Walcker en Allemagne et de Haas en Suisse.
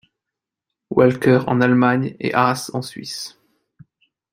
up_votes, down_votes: 0, 2